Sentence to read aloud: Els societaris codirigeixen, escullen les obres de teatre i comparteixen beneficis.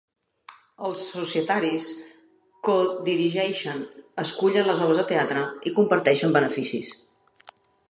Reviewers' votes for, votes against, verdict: 1, 2, rejected